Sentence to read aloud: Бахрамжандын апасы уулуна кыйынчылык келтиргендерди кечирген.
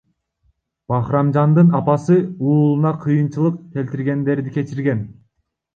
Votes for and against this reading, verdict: 1, 2, rejected